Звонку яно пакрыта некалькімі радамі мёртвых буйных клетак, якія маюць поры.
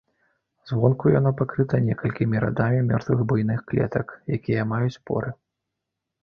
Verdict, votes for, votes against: accepted, 2, 0